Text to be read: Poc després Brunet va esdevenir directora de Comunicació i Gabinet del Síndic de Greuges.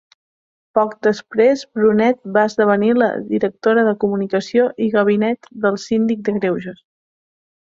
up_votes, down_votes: 0, 2